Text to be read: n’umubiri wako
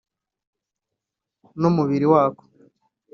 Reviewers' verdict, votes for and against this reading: accepted, 3, 0